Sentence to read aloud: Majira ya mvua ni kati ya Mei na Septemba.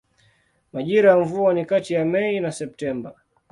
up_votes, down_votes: 2, 0